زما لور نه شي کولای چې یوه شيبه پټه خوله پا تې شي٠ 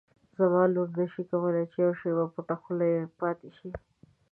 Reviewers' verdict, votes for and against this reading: rejected, 0, 2